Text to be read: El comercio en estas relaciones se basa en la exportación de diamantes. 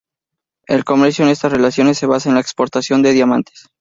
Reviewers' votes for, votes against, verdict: 0, 2, rejected